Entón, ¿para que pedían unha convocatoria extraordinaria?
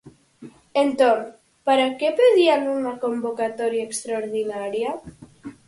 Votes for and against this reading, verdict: 4, 0, accepted